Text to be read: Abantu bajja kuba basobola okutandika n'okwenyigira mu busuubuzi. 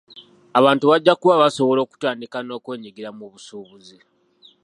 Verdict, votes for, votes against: accepted, 2, 0